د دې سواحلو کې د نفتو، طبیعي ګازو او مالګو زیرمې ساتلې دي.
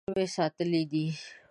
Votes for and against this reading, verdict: 1, 2, rejected